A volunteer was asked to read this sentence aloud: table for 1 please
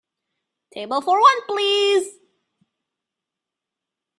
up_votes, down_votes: 0, 2